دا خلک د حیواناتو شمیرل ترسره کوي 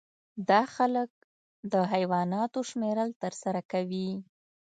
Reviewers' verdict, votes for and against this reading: accepted, 2, 0